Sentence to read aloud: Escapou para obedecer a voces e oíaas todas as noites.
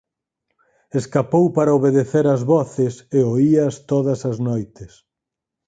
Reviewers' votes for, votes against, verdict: 2, 4, rejected